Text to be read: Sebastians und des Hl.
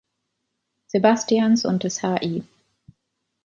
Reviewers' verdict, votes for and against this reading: rejected, 0, 2